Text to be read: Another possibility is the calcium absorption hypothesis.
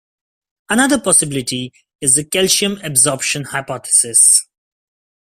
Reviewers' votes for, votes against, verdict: 2, 0, accepted